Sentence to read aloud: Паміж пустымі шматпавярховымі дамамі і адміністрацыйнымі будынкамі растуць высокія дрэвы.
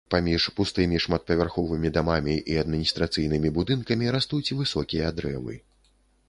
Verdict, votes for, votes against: accepted, 2, 0